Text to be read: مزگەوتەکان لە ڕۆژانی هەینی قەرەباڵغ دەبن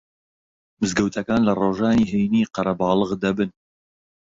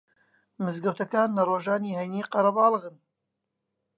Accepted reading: first